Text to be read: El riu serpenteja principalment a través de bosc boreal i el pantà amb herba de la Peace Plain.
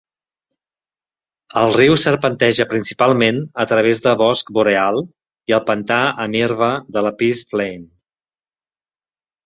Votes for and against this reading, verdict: 2, 0, accepted